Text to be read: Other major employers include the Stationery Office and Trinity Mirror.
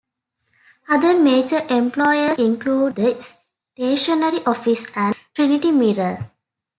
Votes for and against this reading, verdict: 2, 1, accepted